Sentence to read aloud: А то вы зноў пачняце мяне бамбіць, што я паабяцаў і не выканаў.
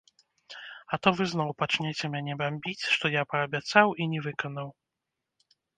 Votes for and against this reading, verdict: 0, 2, rejected